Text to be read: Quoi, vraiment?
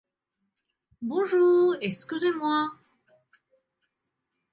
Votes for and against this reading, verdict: 0, 2, rejected